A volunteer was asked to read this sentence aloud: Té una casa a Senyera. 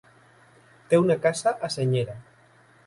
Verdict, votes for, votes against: rejected, 0, 2